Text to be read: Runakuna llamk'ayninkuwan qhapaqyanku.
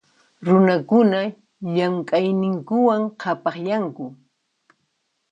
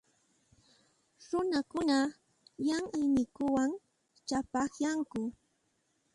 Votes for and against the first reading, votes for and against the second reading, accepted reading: 2, 0, 1, 2, first